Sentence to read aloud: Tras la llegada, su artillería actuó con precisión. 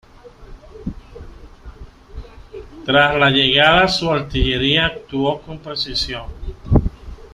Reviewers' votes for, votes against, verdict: 1, 2, rejected